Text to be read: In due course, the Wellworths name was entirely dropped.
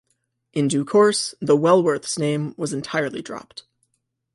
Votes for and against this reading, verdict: 2, 0, accepted